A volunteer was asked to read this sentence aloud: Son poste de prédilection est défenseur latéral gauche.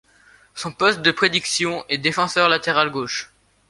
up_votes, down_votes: 1, 2